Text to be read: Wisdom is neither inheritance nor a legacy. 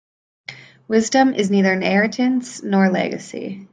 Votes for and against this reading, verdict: 2, 0, accepted